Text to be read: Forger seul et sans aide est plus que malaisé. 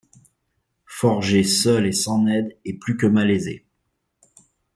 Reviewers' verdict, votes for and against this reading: rejected, 1, 2